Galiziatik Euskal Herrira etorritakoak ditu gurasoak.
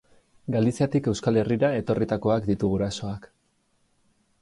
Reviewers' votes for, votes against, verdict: 2, 0, accepted